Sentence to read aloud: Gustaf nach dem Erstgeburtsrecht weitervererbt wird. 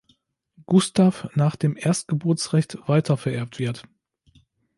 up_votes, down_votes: 2, 0